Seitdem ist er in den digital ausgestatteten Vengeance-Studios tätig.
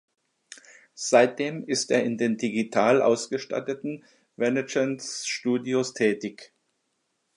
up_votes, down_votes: 0, 2